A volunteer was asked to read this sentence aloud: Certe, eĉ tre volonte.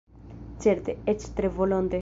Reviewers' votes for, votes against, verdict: 1, 2, rejected